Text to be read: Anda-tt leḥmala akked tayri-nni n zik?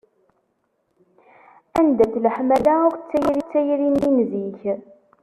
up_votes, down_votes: 1, 2